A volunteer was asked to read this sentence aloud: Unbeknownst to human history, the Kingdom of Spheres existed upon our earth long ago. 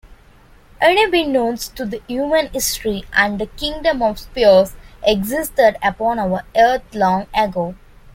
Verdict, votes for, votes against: rejected, 0, 2